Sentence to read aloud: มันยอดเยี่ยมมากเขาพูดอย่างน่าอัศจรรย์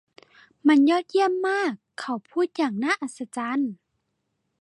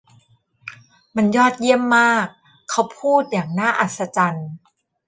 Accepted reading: first